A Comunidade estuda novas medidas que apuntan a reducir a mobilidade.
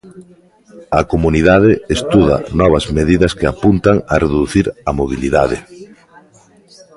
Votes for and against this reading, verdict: 2, 0, accepted